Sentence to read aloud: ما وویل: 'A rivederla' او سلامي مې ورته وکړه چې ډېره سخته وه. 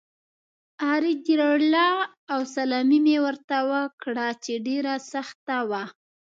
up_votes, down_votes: 0, 2